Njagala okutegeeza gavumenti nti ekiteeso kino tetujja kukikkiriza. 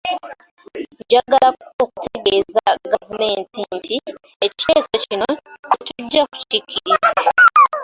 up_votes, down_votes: 0, 2